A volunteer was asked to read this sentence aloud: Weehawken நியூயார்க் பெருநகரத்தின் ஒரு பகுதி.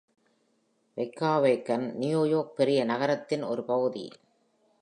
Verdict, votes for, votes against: accepted, 2, 0